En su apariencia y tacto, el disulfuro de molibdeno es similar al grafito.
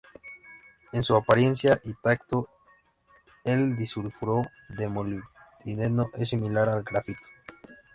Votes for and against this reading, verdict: 0, 2, rejected